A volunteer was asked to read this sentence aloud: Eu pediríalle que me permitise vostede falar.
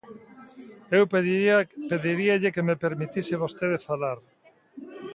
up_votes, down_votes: 0, 2